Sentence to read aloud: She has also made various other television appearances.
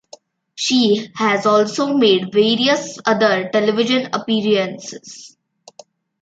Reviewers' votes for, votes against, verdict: 2, 1, accepted